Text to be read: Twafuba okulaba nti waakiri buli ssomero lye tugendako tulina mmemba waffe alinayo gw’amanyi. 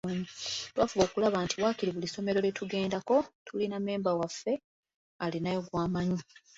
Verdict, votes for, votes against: accepted, 2, 0